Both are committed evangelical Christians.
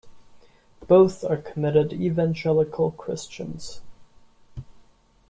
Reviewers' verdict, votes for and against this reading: accepted, 2, 1